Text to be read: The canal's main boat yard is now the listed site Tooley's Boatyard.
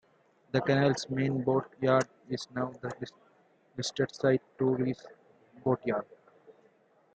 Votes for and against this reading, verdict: 1, 2, rejected